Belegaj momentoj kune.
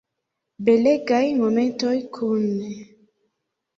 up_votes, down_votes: 3, 0